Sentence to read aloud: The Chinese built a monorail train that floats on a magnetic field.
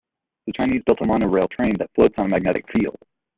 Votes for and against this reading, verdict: 2, 1, accepted